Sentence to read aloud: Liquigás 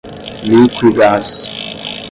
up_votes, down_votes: 5, 5